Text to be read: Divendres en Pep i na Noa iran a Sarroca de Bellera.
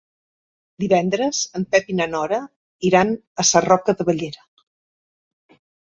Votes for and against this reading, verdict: 1, 2, rejected